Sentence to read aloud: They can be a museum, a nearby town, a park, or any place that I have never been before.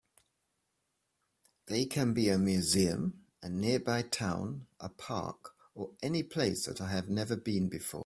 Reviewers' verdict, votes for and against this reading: accepted, 2, 0